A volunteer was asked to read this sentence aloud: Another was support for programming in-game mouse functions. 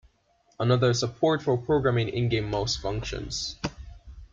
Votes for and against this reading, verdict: 1, 2, rejected